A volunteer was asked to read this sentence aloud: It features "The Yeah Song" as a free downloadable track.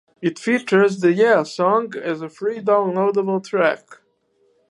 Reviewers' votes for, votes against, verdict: 4, 2, accepted